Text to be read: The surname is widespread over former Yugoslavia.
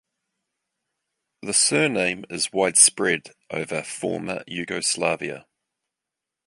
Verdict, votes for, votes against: accepted, 2, 0